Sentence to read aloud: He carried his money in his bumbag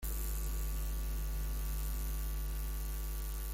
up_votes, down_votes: 0, 2